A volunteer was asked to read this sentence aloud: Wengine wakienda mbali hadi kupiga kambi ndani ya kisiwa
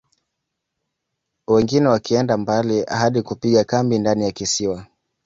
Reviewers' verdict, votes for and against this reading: accepted, 4, 0